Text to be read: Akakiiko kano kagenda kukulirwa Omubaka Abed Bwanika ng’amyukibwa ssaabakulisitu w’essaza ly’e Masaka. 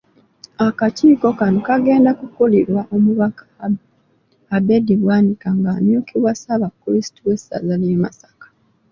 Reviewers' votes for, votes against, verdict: 2, 1, accepted